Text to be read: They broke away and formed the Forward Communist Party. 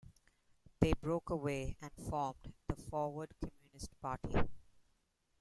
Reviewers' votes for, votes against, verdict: 2, 0, accepted